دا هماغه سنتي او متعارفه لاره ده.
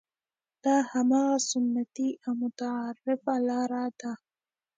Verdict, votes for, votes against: rejected, 1, 2